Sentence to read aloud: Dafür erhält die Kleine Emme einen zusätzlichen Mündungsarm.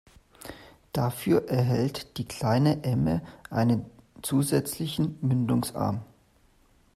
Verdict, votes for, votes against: accepted, 2, 0